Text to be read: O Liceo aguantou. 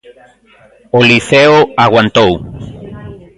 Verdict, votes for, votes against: accepted, 2, 0